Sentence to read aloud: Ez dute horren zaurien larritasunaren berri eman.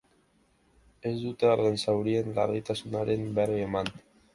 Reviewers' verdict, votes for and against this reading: accepted, 2, 0